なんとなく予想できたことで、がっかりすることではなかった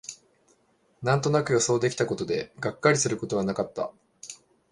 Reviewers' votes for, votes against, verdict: 1, 2, rejected